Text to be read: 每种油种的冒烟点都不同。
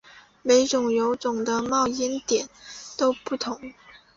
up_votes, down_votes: 3, 0